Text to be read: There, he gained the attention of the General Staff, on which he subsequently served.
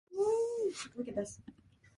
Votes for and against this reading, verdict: 0, 2, rejected